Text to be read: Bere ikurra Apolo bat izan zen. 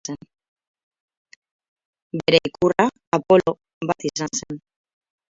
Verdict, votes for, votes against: rejected, 0, 4